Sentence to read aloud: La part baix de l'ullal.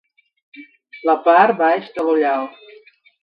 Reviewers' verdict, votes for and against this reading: rejected, 1, 2